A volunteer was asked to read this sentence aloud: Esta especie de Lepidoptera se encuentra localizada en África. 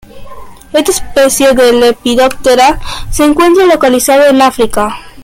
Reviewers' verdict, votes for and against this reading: accepted, 2, 0